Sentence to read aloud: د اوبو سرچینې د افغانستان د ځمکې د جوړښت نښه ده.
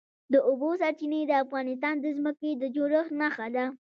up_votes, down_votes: 2, 1